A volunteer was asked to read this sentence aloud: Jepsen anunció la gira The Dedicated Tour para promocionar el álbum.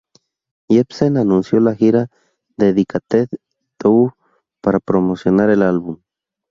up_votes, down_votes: 0, 2